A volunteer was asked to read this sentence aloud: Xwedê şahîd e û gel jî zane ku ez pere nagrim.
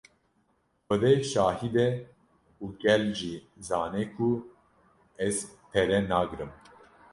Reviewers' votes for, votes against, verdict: 2, 0, accepted